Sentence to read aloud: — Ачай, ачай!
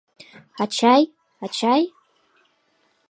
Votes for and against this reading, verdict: 2, 0, accepted